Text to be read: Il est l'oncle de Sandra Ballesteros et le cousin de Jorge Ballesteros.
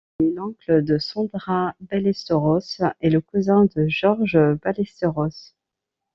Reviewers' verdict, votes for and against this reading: rejected, 1, 2